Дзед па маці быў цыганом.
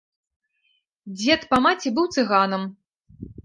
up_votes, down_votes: 1, 2